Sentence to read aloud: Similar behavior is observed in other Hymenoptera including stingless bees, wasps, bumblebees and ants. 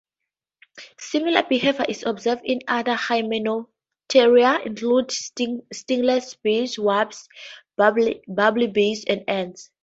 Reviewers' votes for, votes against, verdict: 0, 2, rejected